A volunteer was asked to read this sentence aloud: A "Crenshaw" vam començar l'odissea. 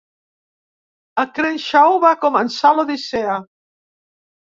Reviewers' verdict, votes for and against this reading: rejected, 1, 3